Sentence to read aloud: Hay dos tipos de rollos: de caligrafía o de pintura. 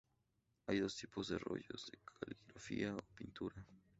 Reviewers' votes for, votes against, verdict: 2, 0, accepted